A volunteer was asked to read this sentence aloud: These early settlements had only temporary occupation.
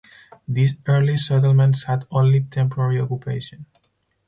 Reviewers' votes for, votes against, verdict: 2, 2, rejected